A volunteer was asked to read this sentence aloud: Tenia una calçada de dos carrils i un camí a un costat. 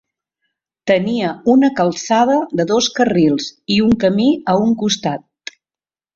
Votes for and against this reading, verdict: 0, 2, rejected